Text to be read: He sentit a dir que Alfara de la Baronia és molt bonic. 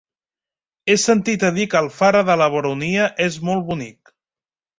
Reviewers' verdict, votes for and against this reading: accepted, 2, 0